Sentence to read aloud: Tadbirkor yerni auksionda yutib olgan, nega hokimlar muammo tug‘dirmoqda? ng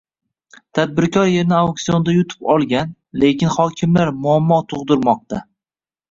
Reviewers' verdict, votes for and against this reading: rejected, 1, 2